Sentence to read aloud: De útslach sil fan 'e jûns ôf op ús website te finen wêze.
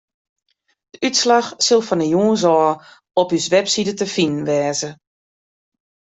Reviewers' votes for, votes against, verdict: 1, 2, rejected